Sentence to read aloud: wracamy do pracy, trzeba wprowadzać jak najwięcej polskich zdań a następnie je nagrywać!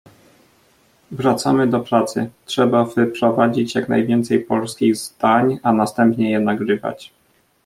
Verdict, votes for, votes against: rejected, 1, 2